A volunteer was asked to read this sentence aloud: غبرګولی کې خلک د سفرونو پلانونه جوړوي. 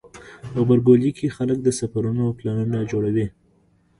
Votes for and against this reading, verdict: 0, 2, rejected